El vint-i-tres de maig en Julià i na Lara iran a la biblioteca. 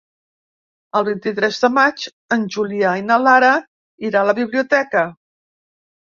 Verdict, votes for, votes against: rejected, 0, 2